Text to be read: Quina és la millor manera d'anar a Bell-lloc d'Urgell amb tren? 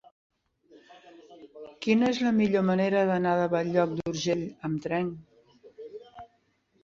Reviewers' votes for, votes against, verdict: 1, 2, rejected